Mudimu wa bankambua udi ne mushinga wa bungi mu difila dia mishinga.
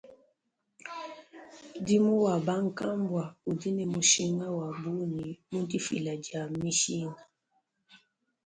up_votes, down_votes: 2, 0